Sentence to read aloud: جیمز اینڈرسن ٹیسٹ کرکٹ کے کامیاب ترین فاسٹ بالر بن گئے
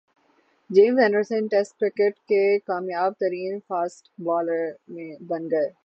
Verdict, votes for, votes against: rejected, 0, 6